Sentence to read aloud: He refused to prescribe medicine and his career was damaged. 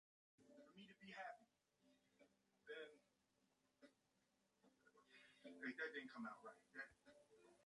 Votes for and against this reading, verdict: 0, 2, rejected